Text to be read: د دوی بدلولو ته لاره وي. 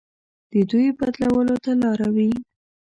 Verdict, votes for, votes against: accepted, 2, 0